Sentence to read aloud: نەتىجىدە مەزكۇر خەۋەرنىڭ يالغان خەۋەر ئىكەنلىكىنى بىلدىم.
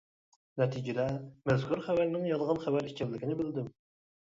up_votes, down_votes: 2, 0